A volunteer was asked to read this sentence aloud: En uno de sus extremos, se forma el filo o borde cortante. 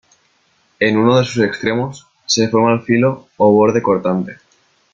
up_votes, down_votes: 3, 0